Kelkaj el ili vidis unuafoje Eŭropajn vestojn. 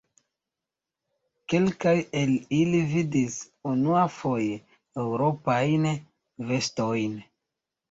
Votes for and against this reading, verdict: 2, 0, accepted